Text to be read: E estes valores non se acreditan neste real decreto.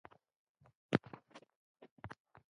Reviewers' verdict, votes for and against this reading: rejected, 0, 3